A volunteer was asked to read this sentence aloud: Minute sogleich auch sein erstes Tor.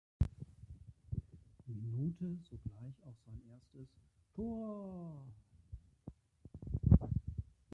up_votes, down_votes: 0, 3